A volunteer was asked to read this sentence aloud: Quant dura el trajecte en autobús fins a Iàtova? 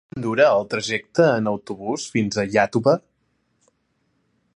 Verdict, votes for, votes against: rejected, 0, 2